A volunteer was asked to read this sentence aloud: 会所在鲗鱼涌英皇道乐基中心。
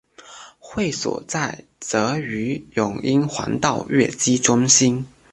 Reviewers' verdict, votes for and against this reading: accepted, 2, 1